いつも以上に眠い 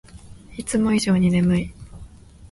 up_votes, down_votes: 2, 1